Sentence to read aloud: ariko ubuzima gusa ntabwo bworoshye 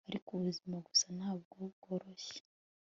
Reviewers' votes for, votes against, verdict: 2, 0, accepted